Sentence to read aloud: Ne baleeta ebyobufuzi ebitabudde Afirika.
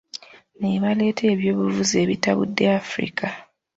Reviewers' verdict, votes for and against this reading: accepted, 2, 0